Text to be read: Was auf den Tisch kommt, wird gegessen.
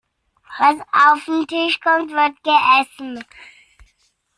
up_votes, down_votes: 1, 2